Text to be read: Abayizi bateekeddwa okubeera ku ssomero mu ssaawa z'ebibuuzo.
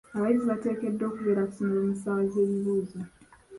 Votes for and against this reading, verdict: 1, 3, rejected